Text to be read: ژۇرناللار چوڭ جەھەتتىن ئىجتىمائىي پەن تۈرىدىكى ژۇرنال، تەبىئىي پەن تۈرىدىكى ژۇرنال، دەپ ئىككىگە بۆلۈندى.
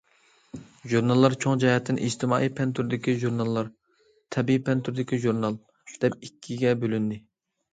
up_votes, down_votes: 0, 2